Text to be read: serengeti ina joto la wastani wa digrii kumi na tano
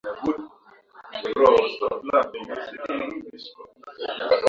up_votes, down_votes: 0, 2